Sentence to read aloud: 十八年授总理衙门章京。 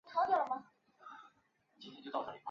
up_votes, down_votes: 3, 4